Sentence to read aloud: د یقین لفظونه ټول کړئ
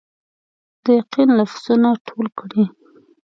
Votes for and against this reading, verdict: 1, 2, rejected